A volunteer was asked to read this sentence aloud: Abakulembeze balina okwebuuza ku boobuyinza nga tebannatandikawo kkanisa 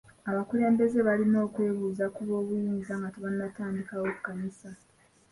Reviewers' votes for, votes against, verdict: 2, 0, accepted